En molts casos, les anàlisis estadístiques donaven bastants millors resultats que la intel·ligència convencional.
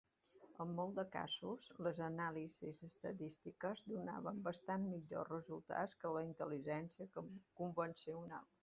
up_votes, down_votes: 1, 2